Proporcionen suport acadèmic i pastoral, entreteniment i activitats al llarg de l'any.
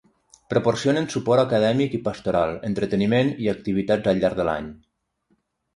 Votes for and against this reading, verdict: 3, 3, rejected